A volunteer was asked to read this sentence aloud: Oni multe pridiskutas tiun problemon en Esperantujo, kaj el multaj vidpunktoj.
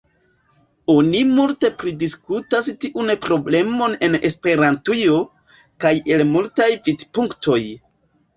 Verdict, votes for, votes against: accepted, 2, 0